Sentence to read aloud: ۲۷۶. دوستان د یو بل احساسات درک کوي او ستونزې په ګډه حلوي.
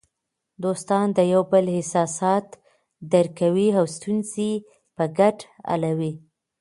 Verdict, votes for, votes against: rejected, 0, 2